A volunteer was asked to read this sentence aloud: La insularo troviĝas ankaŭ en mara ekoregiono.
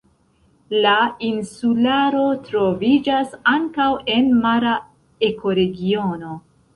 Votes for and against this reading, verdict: 1, 2, rejected